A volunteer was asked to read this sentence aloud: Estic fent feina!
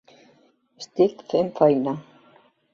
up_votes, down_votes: 2, 1